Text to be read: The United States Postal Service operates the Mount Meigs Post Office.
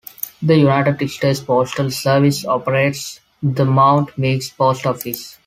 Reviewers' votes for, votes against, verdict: 2, 1, accepted